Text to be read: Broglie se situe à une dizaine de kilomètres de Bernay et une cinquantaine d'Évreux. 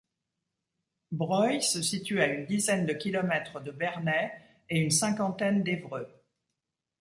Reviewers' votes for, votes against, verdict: 1, 2, rejected